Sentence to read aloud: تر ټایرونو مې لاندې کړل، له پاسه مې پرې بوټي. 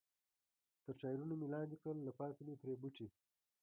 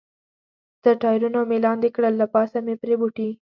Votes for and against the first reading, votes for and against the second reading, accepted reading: 1, 2, 2, 0, second